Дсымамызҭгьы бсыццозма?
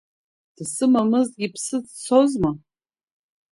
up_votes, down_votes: 1, 2